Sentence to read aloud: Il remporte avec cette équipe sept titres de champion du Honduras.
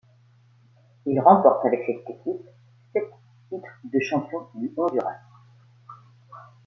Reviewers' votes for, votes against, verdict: 2, 1, accepted